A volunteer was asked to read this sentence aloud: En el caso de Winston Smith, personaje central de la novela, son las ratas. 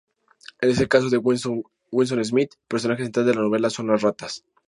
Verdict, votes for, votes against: rejected, 0, 2